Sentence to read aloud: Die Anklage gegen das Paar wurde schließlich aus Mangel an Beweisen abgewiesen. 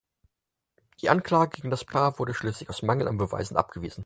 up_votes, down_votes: 4, 0